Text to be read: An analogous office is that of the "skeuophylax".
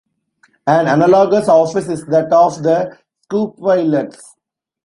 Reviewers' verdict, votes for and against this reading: rejected, 1, 2